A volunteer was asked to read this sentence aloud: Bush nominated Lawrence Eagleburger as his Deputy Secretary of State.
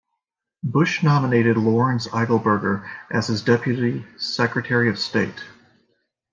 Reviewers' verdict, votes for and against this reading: accepted, 2, 0